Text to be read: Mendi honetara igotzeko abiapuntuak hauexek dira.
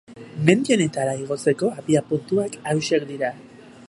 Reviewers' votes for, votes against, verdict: 0, 2, rejected